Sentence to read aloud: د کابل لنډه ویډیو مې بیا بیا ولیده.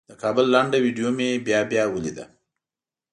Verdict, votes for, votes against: accepted, 2, 0